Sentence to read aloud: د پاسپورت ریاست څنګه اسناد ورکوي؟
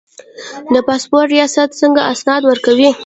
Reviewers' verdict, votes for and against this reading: rejected, 1, 2